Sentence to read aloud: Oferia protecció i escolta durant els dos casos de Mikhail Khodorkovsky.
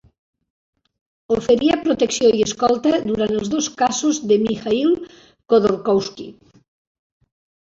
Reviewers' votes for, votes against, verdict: 2, 0, accepted